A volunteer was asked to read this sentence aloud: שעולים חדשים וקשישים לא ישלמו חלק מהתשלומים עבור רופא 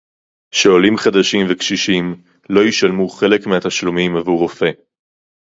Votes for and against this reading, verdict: 2, 0, accepted